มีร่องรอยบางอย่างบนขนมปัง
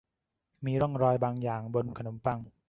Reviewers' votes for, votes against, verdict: 2, 1, accepted